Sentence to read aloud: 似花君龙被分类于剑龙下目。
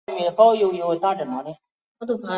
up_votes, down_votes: 0, 2